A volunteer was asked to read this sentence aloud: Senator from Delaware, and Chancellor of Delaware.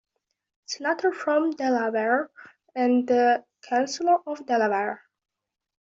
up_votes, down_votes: 0, 2